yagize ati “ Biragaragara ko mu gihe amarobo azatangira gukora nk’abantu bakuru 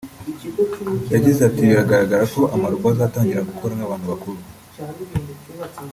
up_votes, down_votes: 1, 2